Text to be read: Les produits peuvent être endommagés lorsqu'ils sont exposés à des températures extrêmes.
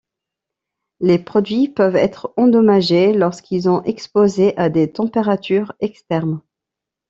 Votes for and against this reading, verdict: 1, 2, rejected